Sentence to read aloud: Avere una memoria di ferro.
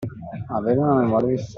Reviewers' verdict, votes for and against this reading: rejected, 0, 2